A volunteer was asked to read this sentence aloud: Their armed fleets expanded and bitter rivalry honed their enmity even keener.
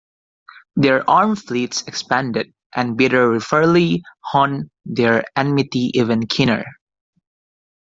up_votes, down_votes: 1, 2